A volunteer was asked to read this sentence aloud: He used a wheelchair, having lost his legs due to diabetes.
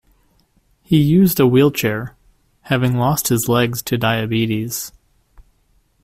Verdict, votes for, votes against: rejected, 1, 2